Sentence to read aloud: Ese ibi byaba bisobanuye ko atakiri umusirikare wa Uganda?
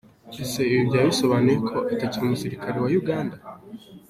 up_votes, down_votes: 2, 0